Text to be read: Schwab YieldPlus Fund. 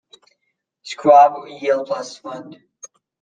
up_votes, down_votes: 1, 2